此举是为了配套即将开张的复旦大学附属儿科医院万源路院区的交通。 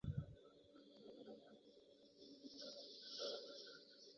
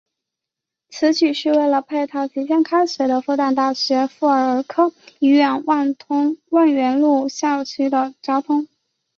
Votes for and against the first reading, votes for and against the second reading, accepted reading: 1, 3, 2, 0, second